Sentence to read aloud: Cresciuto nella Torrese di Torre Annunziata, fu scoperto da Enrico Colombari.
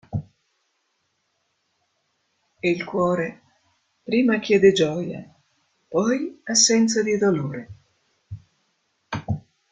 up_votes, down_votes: 0, 2